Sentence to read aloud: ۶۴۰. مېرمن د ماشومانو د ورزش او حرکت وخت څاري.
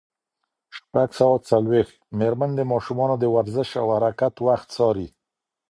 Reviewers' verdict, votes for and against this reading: rejected, 0, 2